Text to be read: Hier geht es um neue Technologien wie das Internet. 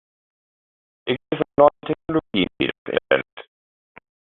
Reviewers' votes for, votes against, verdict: 0, 2, rejected